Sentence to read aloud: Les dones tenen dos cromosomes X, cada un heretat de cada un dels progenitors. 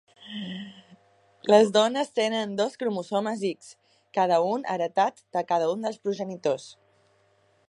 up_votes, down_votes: 2, 0